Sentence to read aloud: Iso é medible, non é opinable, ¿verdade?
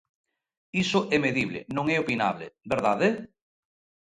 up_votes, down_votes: 2, 0